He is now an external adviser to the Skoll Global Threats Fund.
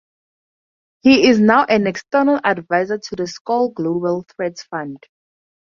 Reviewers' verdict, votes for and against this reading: accepted, 2, 0